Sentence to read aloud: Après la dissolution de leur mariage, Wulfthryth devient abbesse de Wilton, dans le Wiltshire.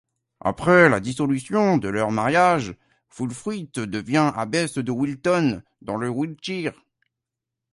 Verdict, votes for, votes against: accepted, 2, 0